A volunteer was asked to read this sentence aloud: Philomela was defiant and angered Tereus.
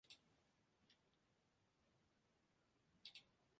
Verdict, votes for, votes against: rejected, 0, 2